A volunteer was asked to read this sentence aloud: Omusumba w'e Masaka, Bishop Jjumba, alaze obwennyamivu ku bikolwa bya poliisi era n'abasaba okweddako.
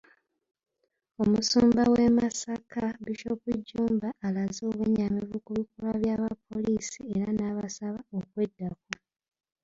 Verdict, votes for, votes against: rejected, 1, 3